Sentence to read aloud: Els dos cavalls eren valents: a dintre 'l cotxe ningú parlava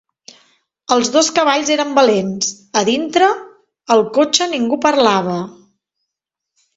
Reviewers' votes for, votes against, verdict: 1, 2, rejected